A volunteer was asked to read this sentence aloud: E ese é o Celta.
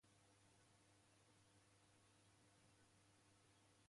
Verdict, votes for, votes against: rejected, 0, 2